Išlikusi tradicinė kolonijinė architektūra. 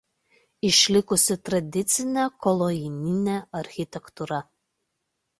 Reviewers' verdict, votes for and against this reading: rejected, 1, 2